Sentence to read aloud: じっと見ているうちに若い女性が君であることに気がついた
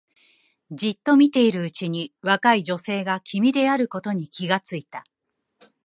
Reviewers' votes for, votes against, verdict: 4, 1, accepted